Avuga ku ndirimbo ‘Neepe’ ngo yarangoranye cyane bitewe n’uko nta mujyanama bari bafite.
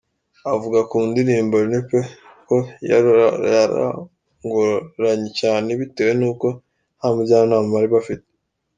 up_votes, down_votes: 1, 2